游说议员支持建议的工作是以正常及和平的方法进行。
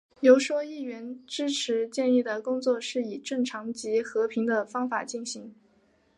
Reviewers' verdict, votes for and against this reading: accepted, 3, 1